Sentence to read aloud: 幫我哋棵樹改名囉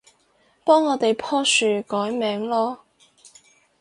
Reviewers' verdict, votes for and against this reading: rejected, 2, 2